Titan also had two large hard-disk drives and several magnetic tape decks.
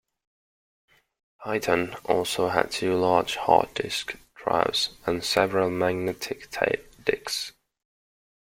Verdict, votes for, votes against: accepted, 2, 1